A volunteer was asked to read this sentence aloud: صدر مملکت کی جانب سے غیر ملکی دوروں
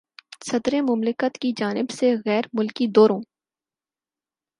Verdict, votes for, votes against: accepted, 4, 0